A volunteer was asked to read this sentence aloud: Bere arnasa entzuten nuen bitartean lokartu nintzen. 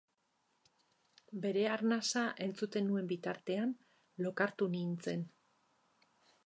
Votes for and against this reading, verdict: 4, 0, accepted